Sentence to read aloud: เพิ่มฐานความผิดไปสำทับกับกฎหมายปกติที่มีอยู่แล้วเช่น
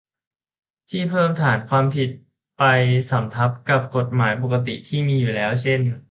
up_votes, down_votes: 0, 2